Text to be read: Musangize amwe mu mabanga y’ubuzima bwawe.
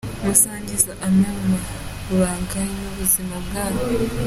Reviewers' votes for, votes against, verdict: 1, 2, rejected